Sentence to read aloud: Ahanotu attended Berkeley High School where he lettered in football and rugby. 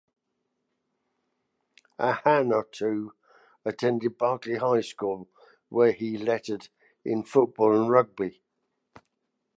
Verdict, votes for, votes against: accepted, 2, 0